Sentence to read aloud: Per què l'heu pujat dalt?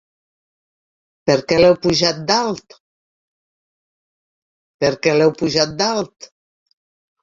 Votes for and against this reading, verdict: 1, 2, rejected